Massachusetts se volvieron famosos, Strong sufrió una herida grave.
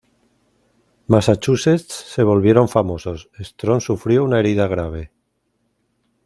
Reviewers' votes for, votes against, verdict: 2, 0, accepted